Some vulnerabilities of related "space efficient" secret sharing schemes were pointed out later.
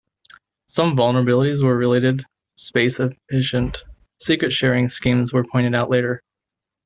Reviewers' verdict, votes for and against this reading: rejected, 0, 2